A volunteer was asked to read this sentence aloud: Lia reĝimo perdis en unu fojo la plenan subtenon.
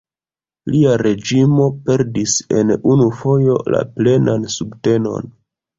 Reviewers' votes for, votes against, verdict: 0, 2, rejected